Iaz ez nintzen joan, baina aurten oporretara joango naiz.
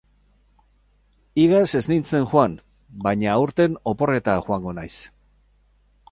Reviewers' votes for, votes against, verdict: 6, 2, accepted